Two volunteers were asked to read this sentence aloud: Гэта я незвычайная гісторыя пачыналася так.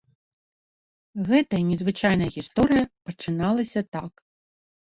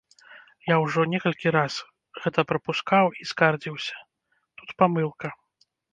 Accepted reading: first